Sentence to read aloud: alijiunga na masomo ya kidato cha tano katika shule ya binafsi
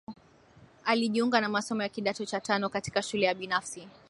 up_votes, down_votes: 4, 0